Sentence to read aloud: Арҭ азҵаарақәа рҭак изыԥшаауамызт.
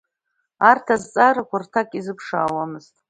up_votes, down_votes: 2, 0